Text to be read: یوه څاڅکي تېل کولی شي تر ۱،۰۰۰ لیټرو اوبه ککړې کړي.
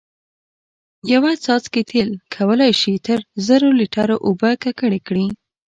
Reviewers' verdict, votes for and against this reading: rejected, 0, 2